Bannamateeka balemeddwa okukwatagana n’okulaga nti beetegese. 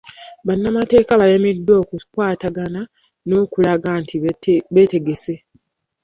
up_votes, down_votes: 0, 2